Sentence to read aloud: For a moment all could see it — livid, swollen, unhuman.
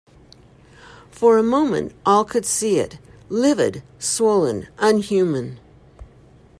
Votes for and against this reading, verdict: 2, 0, accepted